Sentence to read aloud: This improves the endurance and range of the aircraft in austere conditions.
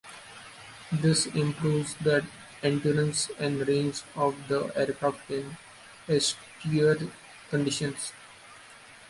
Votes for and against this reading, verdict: 2, 1, accepted